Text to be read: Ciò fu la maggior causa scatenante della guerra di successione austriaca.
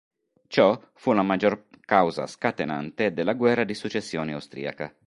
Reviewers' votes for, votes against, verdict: 2, 0, accepted